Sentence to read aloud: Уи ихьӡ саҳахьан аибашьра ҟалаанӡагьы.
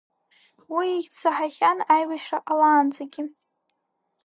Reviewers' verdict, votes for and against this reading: accepted, 2, 0